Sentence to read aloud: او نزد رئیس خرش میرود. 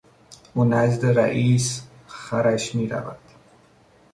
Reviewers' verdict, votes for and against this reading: rejected, 1, 2